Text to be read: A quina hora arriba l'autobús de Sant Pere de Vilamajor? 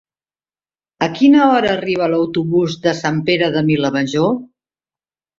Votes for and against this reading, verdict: 2, 0, accepted